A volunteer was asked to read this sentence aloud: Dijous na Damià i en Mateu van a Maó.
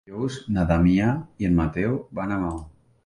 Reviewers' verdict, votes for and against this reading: accepted, 2, 1